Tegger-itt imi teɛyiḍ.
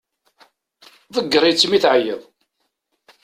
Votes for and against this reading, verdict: 2, 0, accepted